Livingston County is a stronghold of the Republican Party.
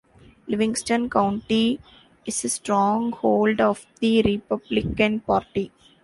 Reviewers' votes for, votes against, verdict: 2, 0, accepted